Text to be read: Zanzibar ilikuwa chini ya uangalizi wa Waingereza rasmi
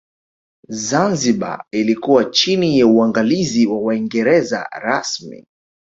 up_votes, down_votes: 1, 2